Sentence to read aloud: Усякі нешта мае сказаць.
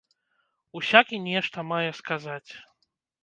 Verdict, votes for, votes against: accepted, 2, 0